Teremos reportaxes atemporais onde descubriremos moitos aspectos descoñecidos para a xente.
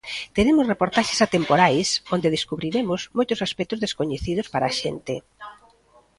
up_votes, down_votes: 0, 2